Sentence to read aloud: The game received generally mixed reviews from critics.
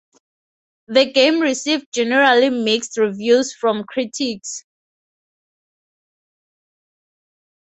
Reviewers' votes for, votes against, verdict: 2, 0, accepted